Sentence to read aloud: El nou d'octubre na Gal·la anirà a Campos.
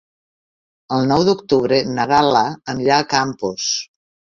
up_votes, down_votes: 4, 0